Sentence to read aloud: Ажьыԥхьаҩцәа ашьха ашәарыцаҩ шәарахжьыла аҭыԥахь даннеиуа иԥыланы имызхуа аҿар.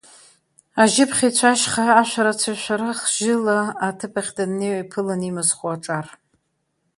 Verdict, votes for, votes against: rejected, 0, 2